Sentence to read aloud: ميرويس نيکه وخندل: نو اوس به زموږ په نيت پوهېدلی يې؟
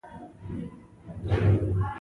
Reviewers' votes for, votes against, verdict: 0, 2, rejected